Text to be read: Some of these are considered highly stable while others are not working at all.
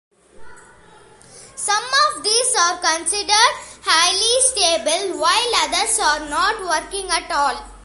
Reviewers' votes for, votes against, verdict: 2, 0, accepted